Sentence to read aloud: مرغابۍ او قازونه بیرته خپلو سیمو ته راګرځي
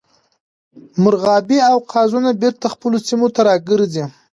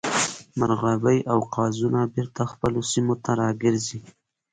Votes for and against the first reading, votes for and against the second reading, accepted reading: 0, 2, 2, 1, second